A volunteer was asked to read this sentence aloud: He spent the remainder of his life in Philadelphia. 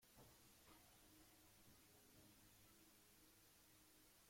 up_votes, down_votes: 0, 2